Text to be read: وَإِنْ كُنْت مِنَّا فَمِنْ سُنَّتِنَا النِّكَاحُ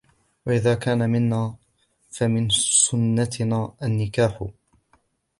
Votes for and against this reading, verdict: 1, 3, rejected